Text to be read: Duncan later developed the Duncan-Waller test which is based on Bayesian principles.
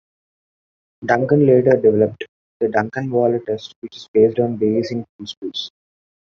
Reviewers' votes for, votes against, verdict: 1, 2, rejected